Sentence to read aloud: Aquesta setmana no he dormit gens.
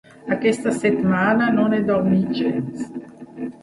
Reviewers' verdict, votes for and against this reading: rejected, 0, 2